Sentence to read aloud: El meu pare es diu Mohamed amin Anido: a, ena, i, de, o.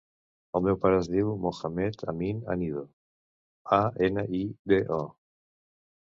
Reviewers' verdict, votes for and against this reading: accepted, 2, 0